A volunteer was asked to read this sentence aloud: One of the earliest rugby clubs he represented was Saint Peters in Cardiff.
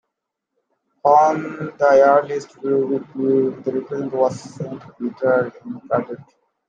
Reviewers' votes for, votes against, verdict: 0, 2, rejected